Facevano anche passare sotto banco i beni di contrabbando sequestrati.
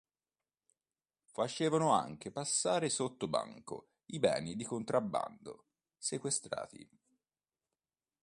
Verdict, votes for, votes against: accepted, 2, 0